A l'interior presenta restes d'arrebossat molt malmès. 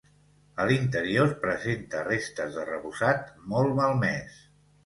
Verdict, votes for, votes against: accepted, 2, 0